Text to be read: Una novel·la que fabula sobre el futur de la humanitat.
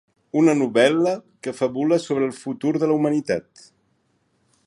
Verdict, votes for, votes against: accepted, 4, 0